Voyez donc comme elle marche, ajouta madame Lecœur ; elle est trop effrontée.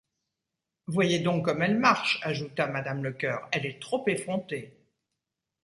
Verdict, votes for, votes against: accepted, 2, 0